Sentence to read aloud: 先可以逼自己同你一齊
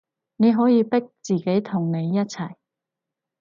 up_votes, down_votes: 0, 4